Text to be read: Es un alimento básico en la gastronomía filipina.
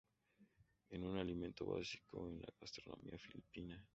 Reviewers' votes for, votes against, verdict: 0, 2, rejected